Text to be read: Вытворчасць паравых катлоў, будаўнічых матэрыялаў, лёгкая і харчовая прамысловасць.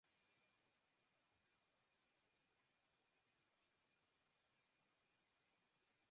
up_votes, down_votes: 0, 2